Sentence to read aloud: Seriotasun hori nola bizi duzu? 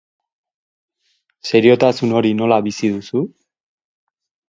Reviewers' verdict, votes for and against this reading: accepted, 6, 0